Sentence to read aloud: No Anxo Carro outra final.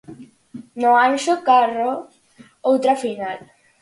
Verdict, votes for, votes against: accepted, 4, 0